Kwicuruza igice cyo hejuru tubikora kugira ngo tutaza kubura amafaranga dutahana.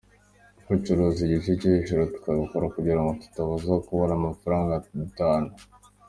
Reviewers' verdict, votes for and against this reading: accepted, 2, 0